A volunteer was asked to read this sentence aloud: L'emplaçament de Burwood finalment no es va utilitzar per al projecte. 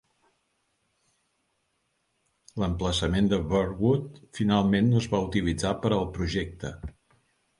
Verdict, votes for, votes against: accepted, 4, 0